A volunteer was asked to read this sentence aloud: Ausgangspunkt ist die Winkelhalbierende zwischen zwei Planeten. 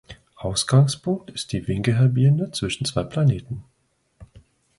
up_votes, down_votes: 2, 0